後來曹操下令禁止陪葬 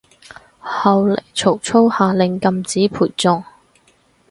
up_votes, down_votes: 4, 2